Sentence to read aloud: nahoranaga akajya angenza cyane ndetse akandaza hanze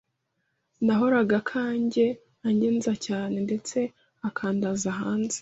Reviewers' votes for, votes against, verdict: 0, 2, rejected